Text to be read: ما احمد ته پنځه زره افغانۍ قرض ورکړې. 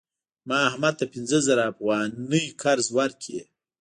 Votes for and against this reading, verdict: 0, 2, rejected